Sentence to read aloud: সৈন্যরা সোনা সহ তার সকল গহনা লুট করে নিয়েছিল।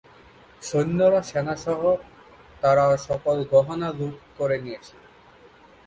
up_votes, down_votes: 1, 5